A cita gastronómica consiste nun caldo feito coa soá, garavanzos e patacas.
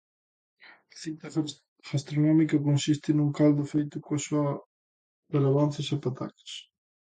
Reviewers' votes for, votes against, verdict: 0, 2, rejected